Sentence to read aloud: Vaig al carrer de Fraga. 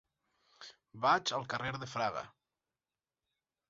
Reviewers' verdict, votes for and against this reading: rejected, 2, 4